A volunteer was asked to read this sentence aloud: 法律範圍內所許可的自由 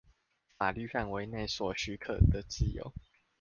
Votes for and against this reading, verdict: 2, 0, accepted